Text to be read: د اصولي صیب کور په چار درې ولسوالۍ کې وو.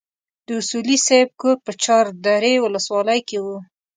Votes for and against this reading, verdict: 2, 0, accepted